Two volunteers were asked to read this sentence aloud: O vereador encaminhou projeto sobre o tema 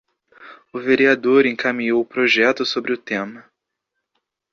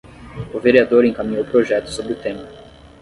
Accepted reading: first